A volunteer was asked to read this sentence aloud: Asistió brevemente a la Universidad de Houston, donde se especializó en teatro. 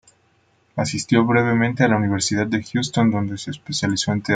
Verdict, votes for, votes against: rejected, 1, 2